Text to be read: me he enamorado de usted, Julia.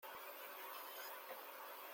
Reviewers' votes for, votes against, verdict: 0, 2, rejected